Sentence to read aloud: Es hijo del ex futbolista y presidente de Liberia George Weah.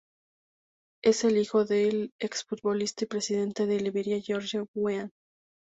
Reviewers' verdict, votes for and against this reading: rejected, 0, 2